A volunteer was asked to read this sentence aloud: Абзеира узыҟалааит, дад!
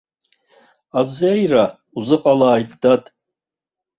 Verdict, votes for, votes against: rejected, 1, 2